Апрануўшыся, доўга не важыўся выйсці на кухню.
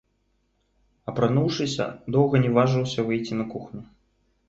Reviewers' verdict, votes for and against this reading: rejected, 1, 2